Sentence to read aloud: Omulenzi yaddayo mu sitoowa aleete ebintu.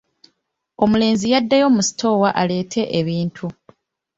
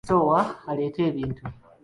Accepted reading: first